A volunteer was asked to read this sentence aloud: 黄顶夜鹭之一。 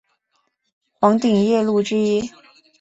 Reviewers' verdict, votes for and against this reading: accepted, 2, 1